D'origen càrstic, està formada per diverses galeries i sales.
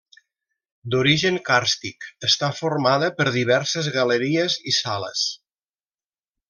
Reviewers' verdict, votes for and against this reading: accepted, 3, 0